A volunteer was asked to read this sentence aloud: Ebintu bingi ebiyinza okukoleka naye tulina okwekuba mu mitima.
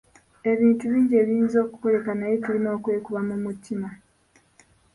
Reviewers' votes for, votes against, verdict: 1, 2, rejected